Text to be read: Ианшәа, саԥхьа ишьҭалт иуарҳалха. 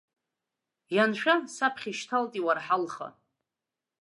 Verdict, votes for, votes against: accepted, 2, 0